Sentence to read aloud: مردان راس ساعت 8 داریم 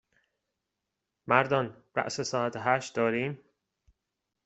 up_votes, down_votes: 0, 2